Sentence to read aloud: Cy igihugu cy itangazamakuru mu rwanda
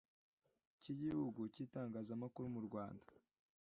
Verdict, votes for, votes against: accepted, 2, 0